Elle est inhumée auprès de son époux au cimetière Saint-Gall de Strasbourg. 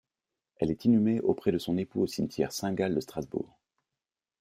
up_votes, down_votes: 2, 0